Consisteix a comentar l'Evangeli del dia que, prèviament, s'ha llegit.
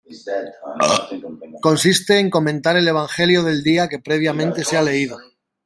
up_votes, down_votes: 0, 2